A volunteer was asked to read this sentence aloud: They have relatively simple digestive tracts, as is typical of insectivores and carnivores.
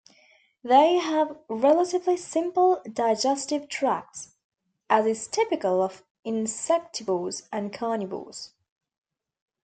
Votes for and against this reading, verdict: 2, 0, accepted